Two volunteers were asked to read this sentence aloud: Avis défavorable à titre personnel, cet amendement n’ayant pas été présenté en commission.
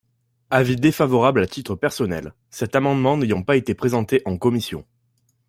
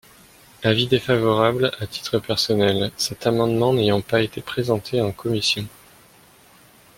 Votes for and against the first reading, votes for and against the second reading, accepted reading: 2, 0, 1, 2, first